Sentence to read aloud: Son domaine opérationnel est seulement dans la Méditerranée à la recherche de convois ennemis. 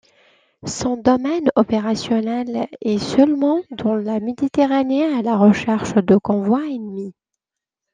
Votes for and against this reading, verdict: 2, 1, accepted